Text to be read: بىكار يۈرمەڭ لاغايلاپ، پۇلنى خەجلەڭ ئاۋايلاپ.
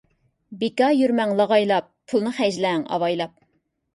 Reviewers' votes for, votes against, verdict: 2, 0, accepted